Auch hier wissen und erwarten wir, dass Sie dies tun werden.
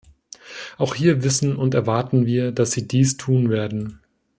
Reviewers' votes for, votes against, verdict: 2, 0, accepted